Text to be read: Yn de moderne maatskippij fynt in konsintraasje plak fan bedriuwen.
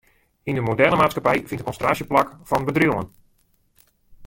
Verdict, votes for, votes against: rejected, 1, 2